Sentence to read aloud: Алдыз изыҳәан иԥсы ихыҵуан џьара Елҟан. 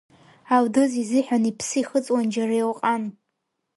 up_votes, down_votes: 2, 0